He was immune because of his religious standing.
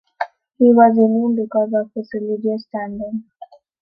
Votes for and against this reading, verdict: 1, 2, rejected